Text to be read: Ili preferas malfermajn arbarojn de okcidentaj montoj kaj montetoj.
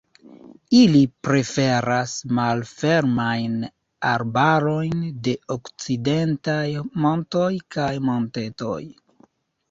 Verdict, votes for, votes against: accepted, 2, 0